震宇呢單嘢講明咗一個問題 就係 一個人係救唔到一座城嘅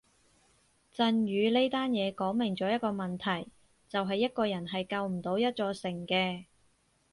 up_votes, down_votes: 6, 0